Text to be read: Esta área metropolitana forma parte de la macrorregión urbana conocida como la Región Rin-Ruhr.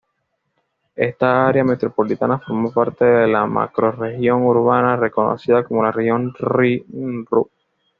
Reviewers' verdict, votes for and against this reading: accepted, 2, 1